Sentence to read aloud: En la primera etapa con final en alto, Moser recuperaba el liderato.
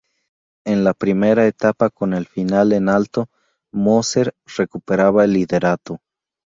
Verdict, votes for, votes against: rejected, 0, 2